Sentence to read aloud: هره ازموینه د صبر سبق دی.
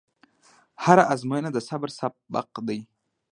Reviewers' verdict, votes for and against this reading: accepted, 2, 0